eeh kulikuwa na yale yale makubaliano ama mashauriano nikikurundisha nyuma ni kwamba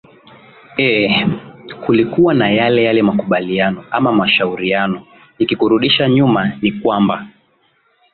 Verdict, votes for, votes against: accepted, 2, 0